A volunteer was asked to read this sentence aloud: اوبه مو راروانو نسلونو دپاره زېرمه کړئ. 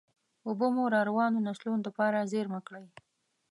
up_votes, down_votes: 2, 0